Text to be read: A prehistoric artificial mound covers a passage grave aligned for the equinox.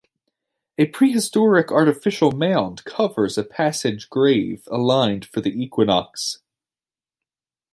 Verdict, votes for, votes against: accepted, 2, 0